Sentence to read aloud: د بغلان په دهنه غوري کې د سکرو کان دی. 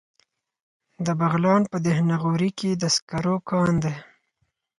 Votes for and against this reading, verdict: 4, 0, accepted